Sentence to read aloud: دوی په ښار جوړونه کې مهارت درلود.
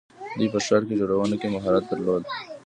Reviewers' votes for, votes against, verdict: 2, 3, rejected